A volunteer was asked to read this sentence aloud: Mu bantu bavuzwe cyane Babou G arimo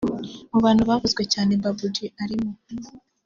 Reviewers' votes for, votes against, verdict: 2, 0, accepted